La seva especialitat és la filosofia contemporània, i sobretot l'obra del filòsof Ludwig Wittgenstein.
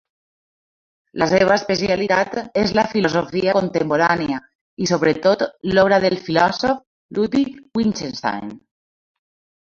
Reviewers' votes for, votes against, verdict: 1, 2, rejected